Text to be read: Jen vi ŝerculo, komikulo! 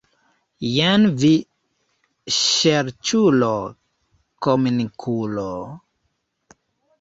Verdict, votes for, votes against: rejected, 0, 2